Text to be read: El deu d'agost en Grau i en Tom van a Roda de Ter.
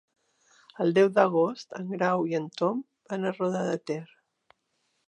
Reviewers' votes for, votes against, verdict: 3, 0, accepted